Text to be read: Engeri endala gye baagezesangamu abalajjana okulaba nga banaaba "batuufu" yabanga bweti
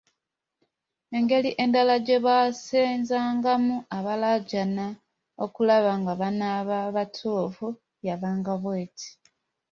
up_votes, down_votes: 2, 1